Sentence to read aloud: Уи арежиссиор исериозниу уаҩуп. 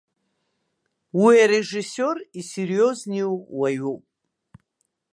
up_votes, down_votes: 1, 2